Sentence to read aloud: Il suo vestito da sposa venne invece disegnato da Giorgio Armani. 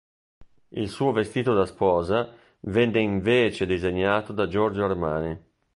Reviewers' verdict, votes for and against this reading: rejected, 1, 2